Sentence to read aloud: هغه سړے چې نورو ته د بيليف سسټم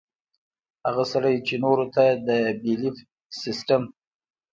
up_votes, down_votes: 2, 0